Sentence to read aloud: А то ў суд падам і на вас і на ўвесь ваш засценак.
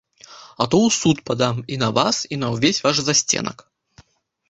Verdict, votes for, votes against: accepted, 2, 0